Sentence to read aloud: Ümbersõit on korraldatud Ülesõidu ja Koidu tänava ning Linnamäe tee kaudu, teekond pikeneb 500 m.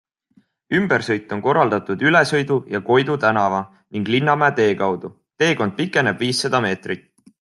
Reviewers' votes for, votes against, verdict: 0, 2, rejected